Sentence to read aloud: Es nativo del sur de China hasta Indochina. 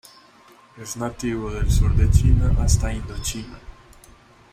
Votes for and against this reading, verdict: 2, 1, accepted